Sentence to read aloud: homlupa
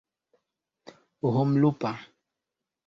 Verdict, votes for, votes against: accepted, 3, 0